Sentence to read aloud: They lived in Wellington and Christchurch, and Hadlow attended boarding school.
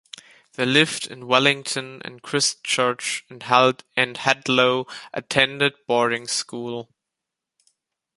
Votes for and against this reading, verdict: 0, 2, rejected